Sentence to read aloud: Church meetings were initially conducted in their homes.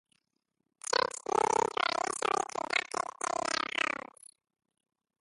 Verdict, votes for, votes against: rejected, 0, 2